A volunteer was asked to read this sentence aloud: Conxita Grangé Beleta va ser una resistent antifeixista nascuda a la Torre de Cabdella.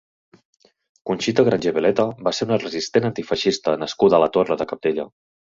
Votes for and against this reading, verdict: 3, 0, accepted